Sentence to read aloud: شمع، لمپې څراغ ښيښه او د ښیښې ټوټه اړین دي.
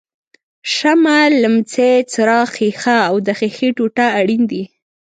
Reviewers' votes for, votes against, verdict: 2, 0, accepted